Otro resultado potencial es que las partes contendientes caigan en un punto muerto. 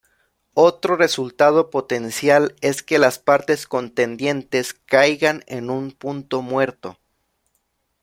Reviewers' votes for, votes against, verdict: 2, 0, accepted